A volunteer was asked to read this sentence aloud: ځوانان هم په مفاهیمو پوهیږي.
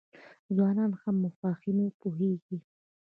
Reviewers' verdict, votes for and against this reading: accepted, 2, 0